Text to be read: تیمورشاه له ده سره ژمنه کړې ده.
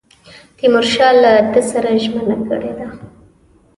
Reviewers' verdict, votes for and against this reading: accepted, 2, 0